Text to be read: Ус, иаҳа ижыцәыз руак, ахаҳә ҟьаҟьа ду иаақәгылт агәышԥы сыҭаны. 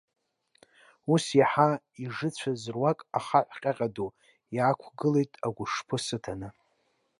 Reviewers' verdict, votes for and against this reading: accepted, 2, 0